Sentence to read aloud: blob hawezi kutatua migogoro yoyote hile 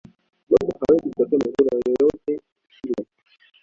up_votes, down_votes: 1, 2